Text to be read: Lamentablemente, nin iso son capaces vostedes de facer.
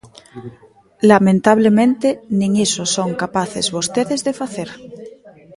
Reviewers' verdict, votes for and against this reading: rejected, 1, 2